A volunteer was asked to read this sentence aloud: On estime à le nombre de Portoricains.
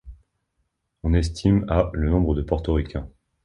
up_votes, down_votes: 2, 0